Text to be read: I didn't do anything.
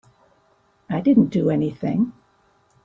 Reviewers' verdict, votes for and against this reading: accepted, 4, 0